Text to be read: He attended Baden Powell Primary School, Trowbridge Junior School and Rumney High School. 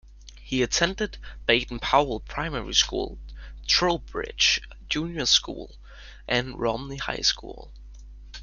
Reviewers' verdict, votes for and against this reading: rejected, 1, 2